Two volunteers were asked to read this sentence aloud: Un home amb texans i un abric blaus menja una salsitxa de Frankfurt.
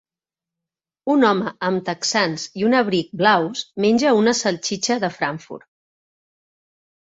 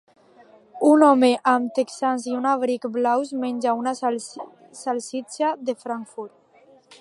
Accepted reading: first